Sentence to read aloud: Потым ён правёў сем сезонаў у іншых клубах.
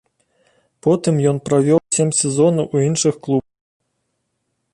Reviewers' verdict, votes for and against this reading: rejected, 0, 2